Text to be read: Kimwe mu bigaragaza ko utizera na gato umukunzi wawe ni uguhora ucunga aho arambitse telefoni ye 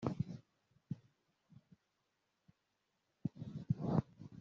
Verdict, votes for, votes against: rejected, 0, 2